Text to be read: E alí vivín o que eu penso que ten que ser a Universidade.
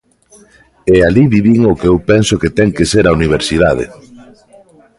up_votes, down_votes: 1, 2